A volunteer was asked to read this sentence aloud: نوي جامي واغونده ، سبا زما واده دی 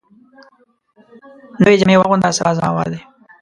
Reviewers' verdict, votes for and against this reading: rejected, 0, 2